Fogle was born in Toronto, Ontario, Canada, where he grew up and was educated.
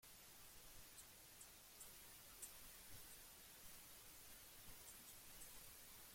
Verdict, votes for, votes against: rejected, 0, 2